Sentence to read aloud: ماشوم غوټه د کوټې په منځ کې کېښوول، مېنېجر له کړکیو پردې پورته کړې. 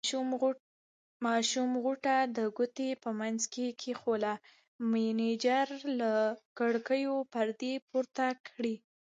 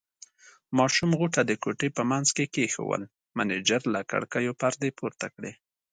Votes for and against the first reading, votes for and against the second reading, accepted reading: 1, 2, 2, 1, second